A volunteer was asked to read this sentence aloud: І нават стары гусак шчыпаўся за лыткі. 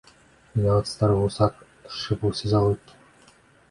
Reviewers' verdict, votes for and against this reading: rejected, 1, 2